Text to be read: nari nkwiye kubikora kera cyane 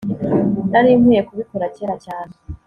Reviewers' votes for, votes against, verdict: 2, 0, accepted